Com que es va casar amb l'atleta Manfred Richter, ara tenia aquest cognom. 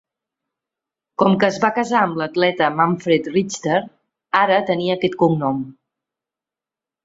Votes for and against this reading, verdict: 3, 0, accepted